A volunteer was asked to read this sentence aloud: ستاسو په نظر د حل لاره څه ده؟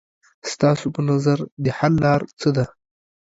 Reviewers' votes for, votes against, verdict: 5, 1, accepted